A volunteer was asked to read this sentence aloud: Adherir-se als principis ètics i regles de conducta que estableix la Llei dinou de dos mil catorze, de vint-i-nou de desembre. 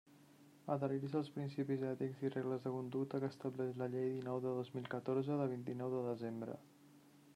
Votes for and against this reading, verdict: 1, 2, rejected